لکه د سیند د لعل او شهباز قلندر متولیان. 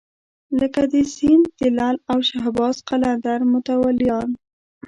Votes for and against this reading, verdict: 1, 2, rejected